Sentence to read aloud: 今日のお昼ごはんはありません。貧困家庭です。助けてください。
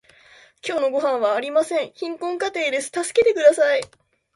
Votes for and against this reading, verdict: 1, 2, rejected